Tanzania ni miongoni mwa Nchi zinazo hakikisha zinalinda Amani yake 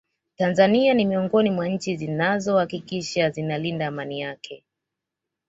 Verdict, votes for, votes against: accepted, 2, 0